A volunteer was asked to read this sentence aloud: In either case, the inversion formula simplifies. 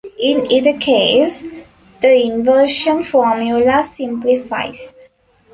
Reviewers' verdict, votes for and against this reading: accepted, 2, 1